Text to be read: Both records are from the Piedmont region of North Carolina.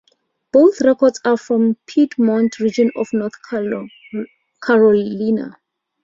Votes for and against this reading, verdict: 0, 2, rejected